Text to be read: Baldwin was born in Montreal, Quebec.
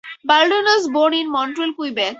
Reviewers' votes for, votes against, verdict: 4, 0, accepted